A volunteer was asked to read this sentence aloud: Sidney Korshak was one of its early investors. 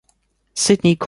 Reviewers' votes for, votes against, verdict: 0, 2, rejected